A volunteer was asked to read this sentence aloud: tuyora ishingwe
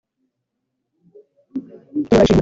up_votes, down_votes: 1, 2